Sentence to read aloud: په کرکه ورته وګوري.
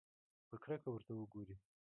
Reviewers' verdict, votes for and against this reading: rejected, 0, 2